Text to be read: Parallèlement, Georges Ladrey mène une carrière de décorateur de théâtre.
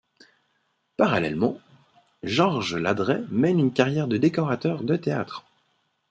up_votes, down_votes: 2, 0